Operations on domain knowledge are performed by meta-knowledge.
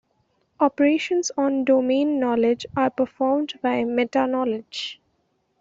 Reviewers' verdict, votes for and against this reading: accepted, 2, 0